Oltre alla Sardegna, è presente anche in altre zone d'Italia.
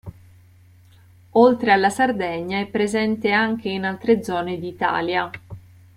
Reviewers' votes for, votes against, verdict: 2, 0, accepted